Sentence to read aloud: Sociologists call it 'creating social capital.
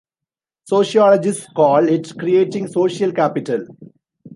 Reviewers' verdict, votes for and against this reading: accepted, 2, 0